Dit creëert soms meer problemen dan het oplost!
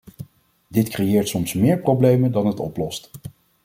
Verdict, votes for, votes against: accepted, 2, 0